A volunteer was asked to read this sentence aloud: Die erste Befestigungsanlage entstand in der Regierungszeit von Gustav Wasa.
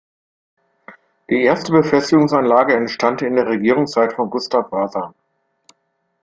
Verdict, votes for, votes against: accepted, 3, 0